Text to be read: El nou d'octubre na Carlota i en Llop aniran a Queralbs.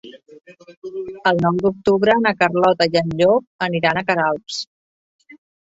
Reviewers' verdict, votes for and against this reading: rejected, 2, 4